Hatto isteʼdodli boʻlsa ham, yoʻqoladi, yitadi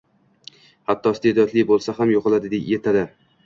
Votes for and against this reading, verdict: 1, 2, rejected